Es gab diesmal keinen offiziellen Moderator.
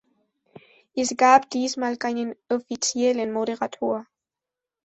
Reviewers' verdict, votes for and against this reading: accepted, 2, 0